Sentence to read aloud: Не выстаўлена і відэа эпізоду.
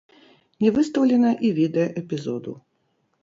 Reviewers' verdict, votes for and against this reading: rejected, 1, 2